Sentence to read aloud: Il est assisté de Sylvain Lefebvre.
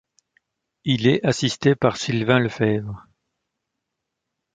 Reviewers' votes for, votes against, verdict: 1, 2, rejected